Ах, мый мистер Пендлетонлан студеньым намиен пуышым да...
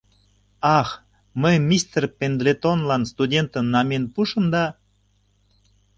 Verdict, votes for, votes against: rejected, 1, 2